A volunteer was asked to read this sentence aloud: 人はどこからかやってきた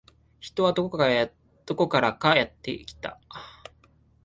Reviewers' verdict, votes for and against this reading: rejected, 1, 2